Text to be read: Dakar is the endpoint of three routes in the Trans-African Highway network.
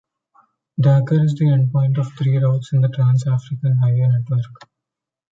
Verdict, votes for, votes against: rejected, 0, 2